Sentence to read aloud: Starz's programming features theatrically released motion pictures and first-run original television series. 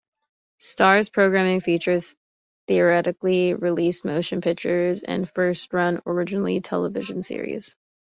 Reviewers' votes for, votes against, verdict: 0, 2, rejected